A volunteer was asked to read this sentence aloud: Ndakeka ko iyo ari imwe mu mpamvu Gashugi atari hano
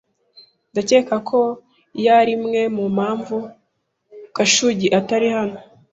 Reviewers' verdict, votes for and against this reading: accepted, 2, 0